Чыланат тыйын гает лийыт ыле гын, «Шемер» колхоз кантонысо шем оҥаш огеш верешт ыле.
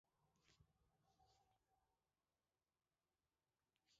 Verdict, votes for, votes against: rejected, 1, 2